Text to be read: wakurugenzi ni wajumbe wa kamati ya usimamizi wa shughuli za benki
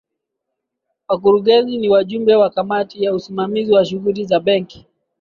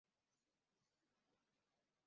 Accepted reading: first